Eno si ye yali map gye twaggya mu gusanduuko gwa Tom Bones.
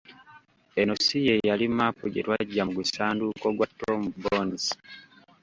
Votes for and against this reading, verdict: 1, 2, rejected